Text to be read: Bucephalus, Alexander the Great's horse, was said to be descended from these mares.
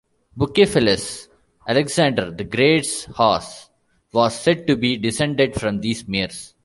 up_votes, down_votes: 2, 1